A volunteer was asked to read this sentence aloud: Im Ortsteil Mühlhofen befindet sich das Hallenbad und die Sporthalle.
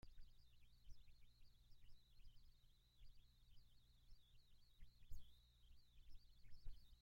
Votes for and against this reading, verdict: 0, 2, rejected